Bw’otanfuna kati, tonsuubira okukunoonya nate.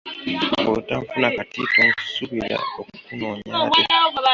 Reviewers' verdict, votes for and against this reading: rejected, 1, 2